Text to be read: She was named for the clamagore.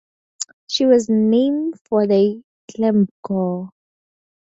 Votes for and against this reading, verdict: 0, 2, rejected